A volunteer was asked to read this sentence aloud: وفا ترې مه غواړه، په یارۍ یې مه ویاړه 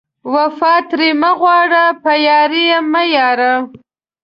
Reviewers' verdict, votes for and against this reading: rejected, 1, 2